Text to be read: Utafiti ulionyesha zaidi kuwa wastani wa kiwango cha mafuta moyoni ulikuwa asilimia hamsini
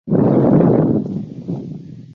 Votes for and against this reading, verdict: 0, 2, rejected